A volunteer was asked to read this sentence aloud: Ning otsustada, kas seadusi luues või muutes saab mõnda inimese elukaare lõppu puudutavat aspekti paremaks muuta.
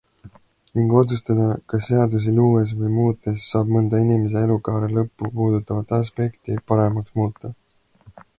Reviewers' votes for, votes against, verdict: 2, 0, accepted